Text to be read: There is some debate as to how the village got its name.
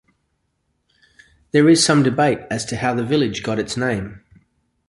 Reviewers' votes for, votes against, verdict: 2, 0, accepted